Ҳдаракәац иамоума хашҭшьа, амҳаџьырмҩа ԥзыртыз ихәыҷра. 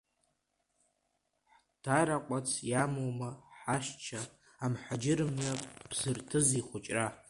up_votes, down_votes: 1, 2